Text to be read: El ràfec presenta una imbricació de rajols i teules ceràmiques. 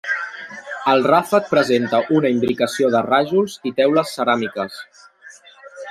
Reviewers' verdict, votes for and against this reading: rejected, 1, 2